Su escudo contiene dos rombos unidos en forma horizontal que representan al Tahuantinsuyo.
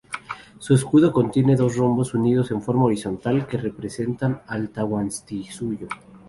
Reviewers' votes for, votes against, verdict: 2, 0, accepted